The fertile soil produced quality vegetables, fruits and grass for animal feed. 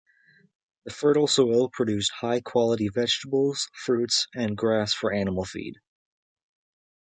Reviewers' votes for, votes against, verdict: 0, 2, rejected